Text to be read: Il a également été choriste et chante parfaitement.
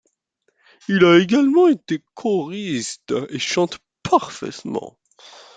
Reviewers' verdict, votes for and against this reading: rejected, 1, 2